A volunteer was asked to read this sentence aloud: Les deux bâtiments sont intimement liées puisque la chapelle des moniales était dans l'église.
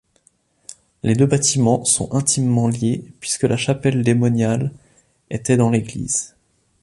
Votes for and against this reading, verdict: 2, 1, accepted